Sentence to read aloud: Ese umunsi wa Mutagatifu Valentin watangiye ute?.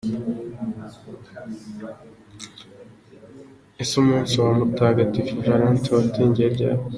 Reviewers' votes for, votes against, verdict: 3, 1, accepted